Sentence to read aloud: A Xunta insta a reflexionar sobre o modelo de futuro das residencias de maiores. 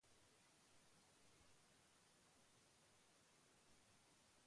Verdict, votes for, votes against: rejected, 0, 2